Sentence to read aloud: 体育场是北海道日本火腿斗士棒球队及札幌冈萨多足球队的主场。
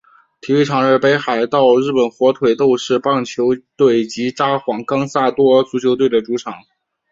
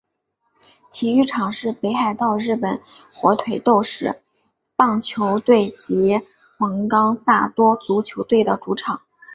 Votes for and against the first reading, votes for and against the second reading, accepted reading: 3, 0, 2, 4, first